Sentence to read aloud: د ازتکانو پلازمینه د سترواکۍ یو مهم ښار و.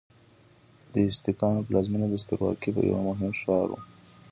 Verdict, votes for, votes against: accepted, 2, 0